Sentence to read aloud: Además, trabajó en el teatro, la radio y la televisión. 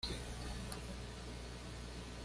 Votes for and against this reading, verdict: 1, 2, rejected